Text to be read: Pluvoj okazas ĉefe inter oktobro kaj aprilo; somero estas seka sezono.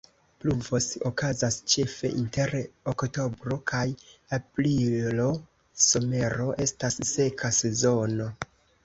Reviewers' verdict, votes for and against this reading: rejected, 1, 2